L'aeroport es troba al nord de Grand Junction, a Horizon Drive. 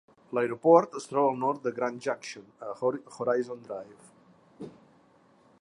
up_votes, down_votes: 0, 2